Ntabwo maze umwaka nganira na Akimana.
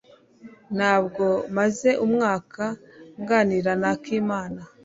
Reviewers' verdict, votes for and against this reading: accepted, 2, 0